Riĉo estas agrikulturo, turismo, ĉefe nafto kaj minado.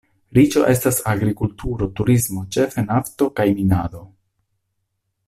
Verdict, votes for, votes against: accepted, 2, 0